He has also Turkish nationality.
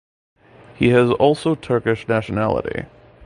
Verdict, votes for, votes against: accepted, 2, 0